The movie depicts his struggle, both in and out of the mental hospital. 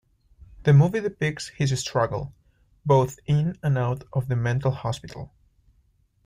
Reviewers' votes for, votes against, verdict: 2, 0, accepted